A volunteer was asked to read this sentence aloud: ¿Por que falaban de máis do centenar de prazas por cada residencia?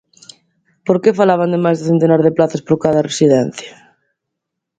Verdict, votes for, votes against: accepted, 2, 0